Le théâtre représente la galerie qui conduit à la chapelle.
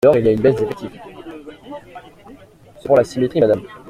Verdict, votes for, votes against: rejected, 0, 2